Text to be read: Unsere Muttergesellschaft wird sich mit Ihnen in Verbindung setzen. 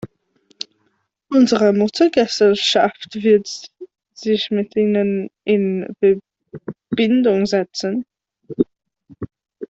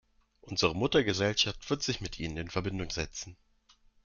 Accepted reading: second